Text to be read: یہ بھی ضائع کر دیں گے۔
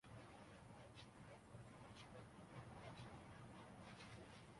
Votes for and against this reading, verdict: 0, 2, rejected